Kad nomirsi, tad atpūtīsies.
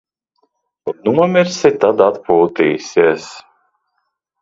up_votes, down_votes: 1, 2